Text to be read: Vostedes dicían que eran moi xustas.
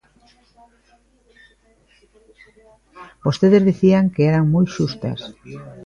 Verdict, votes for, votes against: accepted, 2, 0